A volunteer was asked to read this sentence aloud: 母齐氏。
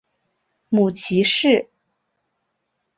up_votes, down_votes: 2, 0